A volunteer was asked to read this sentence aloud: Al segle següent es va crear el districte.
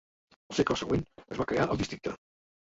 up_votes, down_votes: 1, 3